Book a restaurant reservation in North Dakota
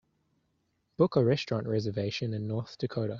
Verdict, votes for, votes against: accepted, 2, 0